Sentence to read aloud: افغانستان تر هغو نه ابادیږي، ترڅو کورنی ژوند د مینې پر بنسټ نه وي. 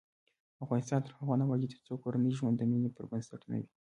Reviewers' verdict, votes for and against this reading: rejected, 1, 2